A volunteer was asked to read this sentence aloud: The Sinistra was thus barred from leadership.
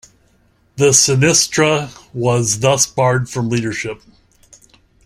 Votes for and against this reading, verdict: 2, 0, accepted